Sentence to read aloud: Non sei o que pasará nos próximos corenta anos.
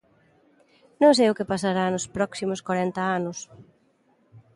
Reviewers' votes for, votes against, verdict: 2, 0, accepted